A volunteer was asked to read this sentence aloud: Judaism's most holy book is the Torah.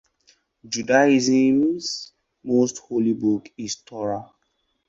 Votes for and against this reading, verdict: 0, 2, rejected